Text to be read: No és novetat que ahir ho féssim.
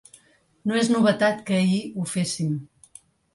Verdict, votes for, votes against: accepted, 3, 0